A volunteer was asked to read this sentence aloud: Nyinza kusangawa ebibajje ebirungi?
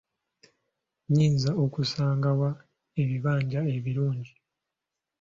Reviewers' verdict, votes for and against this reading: rejected, 1, 2